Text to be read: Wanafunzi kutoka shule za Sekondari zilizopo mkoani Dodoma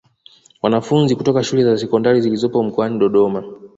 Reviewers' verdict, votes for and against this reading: accepted, 2, 1